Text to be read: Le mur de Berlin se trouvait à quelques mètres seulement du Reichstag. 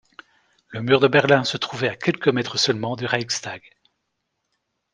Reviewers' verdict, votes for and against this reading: rejected, 0, 2